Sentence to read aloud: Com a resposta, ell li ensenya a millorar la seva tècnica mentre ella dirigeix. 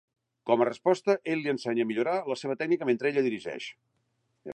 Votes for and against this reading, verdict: 2, 0, accepted